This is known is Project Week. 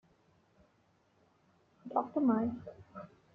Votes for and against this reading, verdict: 0, 2, rejected